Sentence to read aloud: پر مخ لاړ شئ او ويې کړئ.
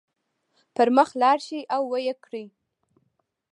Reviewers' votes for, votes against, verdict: 2, 1, accepted